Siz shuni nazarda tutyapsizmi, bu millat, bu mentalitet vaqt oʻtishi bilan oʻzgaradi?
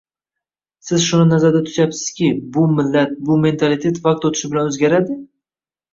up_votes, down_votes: 2, 0